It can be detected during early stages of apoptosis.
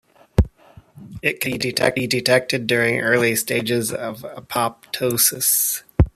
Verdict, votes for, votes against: rejected, 1, 2